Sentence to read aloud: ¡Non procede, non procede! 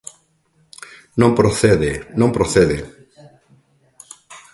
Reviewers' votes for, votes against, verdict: 2, 0, accepted